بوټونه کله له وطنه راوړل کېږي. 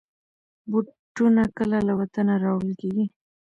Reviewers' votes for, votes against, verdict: 2, 0, accepted